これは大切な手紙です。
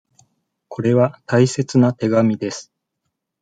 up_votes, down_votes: 2, 0